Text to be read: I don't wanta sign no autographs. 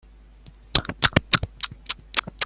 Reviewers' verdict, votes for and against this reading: rejected, 0, 2